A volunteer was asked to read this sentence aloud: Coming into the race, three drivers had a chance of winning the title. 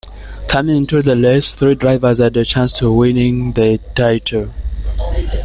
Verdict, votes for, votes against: rejected, 0, 2